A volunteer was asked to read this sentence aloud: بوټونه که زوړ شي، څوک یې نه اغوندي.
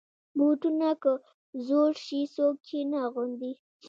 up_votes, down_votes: 1, 2